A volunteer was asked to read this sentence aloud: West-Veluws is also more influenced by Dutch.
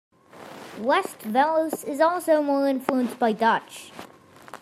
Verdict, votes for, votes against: accepted, 2, 0